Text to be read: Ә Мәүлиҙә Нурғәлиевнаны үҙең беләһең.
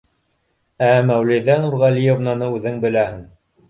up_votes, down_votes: 2, 0